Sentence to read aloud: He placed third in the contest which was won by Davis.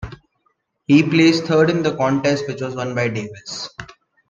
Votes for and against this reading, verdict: 2, 1, accepted